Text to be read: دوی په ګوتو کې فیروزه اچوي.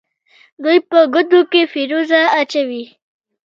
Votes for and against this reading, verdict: 1, 2, rejected